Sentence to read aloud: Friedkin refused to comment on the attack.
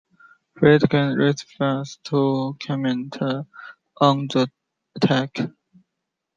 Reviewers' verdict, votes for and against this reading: accepted, 2, 0